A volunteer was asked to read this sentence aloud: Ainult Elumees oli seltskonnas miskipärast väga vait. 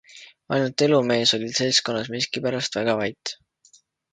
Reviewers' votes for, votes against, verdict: 2, 0, accepted